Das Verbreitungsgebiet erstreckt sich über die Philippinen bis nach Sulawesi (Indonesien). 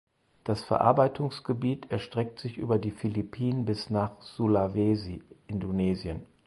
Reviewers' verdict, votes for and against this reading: rejected, 0, 4